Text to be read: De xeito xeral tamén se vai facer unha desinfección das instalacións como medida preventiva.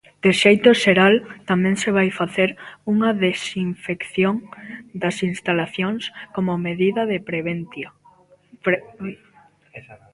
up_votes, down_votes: 0, 2